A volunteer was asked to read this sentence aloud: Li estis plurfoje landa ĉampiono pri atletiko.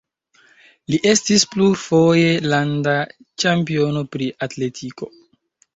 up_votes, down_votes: 0, 2